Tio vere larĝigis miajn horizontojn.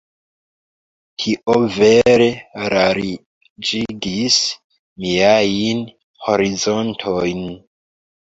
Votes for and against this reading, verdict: 0, 4, rejected